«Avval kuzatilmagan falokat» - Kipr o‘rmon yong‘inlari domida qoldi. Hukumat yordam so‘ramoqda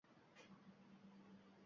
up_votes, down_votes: 1, 2